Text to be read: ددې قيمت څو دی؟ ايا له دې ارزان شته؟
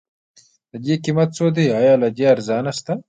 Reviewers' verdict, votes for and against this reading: rejected, 1, 2